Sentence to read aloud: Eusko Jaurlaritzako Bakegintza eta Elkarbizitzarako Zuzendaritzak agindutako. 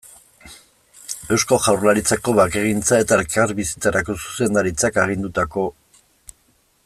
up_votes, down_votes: 1, 4